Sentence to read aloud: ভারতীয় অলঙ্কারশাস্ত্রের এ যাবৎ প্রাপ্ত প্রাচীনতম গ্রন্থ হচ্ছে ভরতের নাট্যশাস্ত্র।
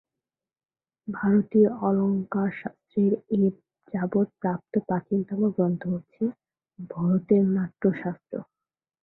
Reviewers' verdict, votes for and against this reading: rejected, 0, 2